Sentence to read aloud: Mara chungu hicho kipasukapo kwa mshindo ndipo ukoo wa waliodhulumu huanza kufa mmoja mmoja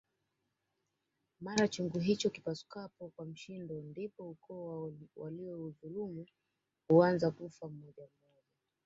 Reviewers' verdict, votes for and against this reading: rejected, 1, 2